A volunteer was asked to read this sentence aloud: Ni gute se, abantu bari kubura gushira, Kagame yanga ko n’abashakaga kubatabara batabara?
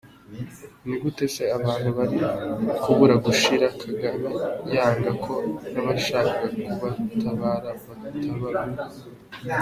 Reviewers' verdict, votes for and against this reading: rejected, 0, 2